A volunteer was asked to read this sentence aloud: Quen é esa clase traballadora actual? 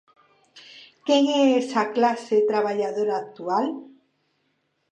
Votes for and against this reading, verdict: 2, 0, accepted